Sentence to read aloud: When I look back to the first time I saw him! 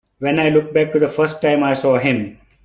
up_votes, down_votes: 2, 0